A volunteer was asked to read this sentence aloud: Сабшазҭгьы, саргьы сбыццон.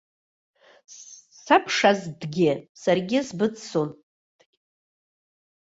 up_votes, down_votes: 1, 2